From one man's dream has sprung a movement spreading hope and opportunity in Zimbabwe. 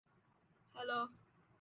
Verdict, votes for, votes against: rejected, 0, 2